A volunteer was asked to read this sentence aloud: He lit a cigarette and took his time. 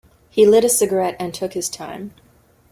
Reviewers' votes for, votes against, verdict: 2, 0, accepted